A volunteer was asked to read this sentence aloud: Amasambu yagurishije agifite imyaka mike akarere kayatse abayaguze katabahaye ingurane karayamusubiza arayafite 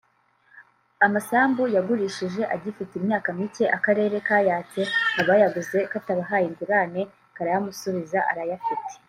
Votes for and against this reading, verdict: 1, 2, rejected